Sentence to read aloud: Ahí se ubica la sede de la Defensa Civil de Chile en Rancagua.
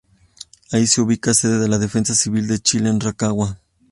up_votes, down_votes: 2, 0